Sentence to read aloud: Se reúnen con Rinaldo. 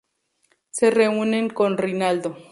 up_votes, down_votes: 2, 0